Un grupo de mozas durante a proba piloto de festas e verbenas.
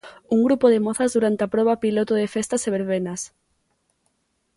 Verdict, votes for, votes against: accepted, 2, 0